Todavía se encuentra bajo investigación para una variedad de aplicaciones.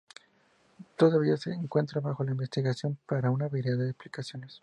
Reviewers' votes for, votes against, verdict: 0, 2, rejected